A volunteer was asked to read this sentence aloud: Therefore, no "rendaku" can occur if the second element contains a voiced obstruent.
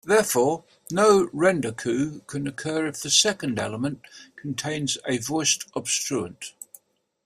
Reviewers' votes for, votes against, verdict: 2, 0, accepted